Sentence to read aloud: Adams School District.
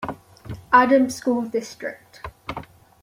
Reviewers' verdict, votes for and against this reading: accepted, 2, 1